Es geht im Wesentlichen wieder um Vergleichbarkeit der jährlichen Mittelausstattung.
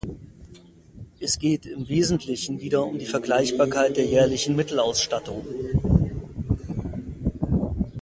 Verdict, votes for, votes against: rejected, 0, 2